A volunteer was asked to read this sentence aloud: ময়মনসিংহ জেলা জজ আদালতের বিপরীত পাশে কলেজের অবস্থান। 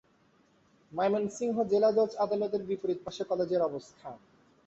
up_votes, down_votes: 3, 0